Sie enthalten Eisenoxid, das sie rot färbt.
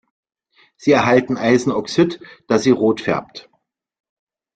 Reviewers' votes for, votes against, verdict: 0, 3, rejected